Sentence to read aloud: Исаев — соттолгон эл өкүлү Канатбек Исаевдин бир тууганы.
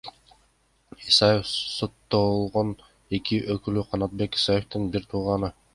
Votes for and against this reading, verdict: 1, 2, rejected